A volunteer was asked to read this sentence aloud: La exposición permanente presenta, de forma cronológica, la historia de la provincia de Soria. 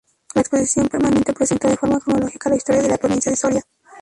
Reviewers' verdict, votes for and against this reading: rejected, 0, 4